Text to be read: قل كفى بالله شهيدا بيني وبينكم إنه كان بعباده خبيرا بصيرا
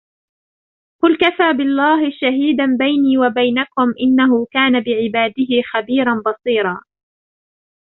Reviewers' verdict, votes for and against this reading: rejected, 0, 2